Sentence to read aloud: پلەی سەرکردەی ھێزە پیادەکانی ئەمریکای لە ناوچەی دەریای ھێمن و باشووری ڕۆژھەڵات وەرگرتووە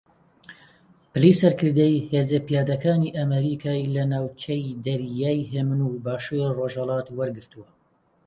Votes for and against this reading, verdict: 1, 2, rejected